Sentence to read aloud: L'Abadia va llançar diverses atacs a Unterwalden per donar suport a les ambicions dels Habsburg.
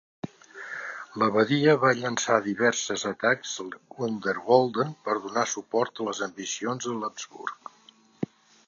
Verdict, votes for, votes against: rejected, 1, 2